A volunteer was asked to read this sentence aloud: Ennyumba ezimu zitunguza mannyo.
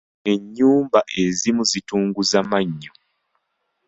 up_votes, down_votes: 2, 0